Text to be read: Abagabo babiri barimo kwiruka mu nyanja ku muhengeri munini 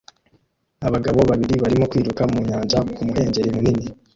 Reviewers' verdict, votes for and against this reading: accepted, 2, 1